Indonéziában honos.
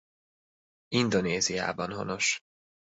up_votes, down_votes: 2, 0